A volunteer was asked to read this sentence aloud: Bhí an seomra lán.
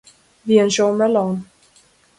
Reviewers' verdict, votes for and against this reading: rejected, 0, 2